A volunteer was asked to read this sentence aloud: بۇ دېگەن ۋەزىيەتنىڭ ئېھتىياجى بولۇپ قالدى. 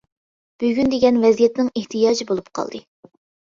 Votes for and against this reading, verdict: 0, 2, rejected